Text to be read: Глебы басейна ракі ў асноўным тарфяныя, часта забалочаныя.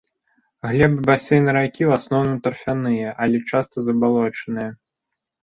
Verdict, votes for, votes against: rejected, 0, 2